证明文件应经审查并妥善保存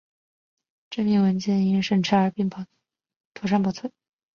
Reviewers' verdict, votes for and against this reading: accepted, 2, 0